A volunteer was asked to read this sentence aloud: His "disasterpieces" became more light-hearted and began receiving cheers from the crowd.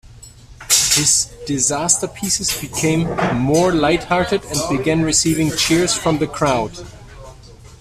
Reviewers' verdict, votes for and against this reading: accepted, 2, 1